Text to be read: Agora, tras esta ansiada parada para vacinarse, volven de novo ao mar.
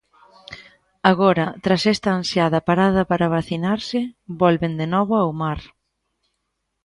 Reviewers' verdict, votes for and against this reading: accepted, 2, 0